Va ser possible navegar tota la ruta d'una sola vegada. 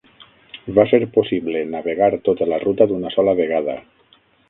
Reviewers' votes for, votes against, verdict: 9, 0, accepted